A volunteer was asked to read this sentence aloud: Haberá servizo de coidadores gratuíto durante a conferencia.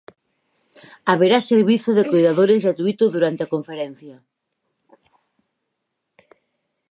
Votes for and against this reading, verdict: 0, 4, rejected